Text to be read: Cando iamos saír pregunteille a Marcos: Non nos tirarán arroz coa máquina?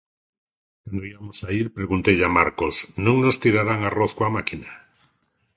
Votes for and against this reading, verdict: 2, 1, accepted